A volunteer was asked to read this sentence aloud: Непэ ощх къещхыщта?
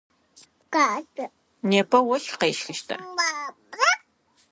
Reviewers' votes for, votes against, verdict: 0, 2, rejected